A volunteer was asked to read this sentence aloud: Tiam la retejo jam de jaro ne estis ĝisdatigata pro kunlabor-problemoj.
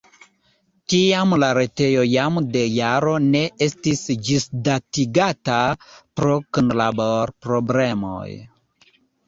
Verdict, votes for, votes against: rejected, 1, 2